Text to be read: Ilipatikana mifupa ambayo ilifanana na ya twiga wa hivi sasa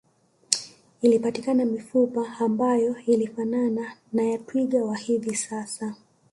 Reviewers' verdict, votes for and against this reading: rejected, 1, 2